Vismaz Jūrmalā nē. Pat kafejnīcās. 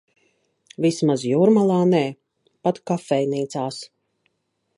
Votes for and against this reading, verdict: 2, 0, accepted